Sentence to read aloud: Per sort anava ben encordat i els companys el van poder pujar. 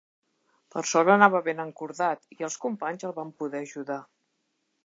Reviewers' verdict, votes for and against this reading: rejected, 0, 2